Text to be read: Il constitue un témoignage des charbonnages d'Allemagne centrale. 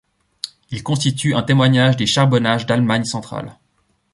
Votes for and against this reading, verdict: 2, 0, accepted